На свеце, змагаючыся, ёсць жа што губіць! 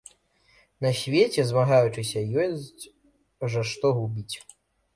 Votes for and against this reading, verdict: 0, 2, rejected